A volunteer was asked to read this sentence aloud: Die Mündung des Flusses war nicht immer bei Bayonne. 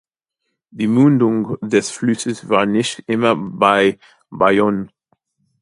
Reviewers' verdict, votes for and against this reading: rejected, 0, 2